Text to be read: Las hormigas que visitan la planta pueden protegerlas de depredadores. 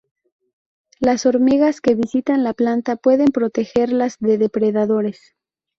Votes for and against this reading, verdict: 2, 0, accepted